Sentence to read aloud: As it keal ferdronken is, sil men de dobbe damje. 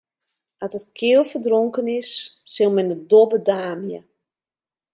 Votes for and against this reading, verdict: 1, 2, rejected